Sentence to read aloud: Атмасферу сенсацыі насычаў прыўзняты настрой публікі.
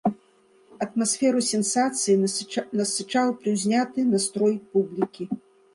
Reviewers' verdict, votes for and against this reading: rejected, 1, 2